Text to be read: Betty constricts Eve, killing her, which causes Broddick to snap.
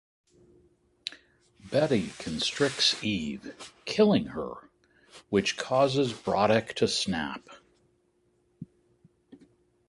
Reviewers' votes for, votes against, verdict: 2, 1, accepted